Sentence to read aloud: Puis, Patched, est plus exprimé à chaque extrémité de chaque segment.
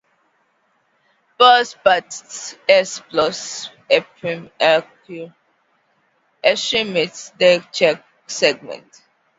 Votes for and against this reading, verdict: 0, 2, rejected